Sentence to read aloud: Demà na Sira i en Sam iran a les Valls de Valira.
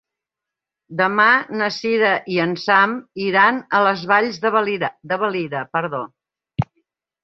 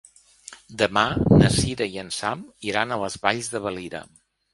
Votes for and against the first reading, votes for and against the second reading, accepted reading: 1, 2, 2, 0, second